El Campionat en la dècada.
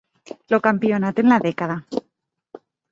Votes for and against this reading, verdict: 2, 4, rejected